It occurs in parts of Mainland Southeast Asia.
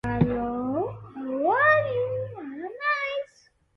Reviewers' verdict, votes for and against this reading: rejected, 0, 2